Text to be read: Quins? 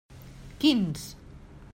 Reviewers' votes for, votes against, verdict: 3, 1, accepted